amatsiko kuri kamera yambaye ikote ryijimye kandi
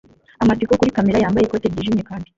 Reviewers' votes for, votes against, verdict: 1, 2, rejected